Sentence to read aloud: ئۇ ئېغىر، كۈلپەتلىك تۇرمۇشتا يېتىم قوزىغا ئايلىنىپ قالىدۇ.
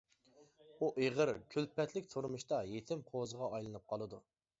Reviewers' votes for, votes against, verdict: 2, 0, accepted